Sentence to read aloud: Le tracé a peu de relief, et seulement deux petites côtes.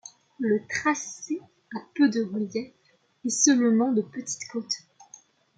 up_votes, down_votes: 2, 0